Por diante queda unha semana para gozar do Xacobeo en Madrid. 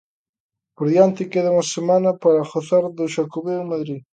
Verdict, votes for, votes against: accepted, 2, 0